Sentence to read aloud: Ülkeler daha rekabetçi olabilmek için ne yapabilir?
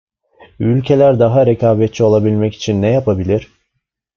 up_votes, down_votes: 2, 0